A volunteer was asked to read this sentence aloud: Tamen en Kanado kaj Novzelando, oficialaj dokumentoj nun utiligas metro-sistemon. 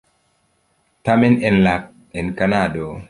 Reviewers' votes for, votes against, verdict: 0, 2, rejected